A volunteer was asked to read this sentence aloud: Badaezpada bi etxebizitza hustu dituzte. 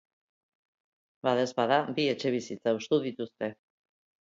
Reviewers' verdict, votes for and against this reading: accepted, 2, 0